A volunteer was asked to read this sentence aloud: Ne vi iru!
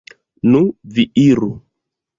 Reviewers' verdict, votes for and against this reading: rejected, 1, 3